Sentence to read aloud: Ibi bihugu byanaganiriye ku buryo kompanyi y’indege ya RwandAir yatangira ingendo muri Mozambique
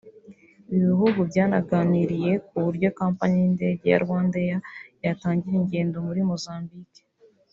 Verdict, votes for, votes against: rejected, 0, 3